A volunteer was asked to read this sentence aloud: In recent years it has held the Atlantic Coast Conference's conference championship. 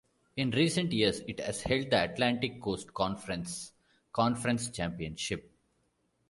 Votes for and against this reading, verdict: 0, 2, rejected